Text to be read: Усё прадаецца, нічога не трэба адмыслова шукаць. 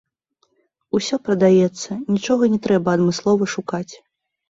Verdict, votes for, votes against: rejected, 0, 2